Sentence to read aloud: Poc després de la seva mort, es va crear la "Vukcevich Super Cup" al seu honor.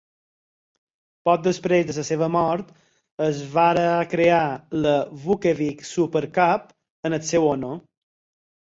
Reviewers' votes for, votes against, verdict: 2, 4, rejected